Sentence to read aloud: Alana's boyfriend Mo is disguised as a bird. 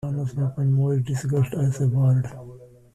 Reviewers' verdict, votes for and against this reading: rejected, 1, 2